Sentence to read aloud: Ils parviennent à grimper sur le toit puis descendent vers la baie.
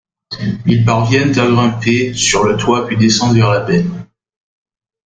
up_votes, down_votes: 0, 2